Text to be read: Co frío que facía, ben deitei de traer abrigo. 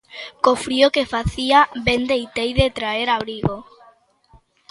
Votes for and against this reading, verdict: 2, 0, accepted